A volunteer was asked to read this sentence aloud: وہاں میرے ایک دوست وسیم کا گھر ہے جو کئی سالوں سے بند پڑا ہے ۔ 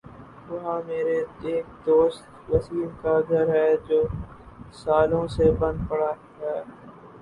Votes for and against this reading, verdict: 0, 2, rejected